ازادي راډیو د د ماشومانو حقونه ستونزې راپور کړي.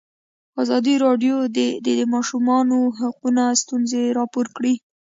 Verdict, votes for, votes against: accepted, 2, 0